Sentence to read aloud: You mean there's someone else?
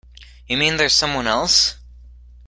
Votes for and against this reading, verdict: 2, 0, accepted